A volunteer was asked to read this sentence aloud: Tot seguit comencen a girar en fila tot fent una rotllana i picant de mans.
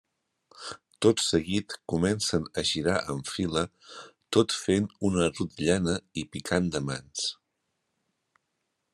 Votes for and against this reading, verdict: 3, 0, accepted